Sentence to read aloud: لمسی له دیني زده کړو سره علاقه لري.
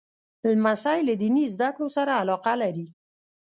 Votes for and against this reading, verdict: 2, 0, accepted